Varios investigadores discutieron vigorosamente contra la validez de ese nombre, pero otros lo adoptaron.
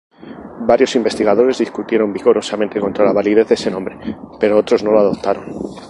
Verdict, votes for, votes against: rejected, 0, 2